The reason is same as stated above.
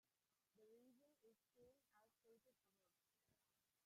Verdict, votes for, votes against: rejected, 0, 2